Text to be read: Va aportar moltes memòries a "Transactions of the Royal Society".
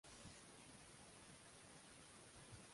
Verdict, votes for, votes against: rejected, 0, 2